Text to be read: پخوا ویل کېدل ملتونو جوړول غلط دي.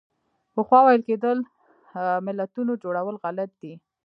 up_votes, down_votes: 1, 2